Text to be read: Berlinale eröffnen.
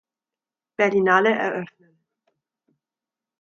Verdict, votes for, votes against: rejected, 0, 2